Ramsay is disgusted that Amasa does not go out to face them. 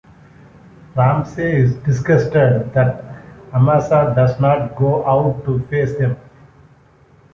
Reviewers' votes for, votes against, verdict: 2, 0, accepted